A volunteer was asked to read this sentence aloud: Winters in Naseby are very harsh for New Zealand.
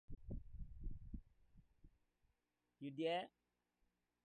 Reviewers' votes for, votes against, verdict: 0, 2, rejected